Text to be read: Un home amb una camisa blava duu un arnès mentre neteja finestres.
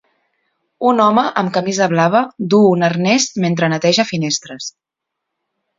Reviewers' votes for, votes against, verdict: 0, 2, rejected